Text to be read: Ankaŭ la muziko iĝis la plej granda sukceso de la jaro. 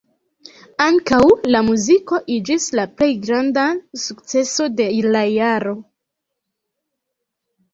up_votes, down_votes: 0, 2